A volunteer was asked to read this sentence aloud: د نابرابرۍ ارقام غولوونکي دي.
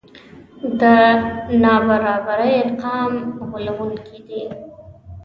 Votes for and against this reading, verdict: 0, 2, rejected